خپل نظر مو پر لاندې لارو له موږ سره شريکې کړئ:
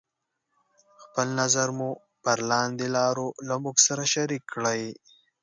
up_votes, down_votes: 2, 0